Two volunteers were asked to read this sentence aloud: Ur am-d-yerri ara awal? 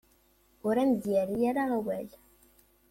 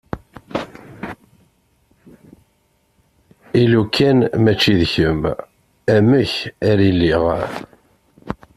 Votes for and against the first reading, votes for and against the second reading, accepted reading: 2, 1, 0, 2, first